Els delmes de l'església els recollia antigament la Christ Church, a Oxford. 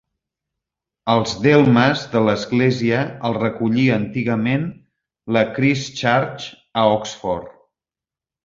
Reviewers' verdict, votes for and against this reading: rejected, 1, 2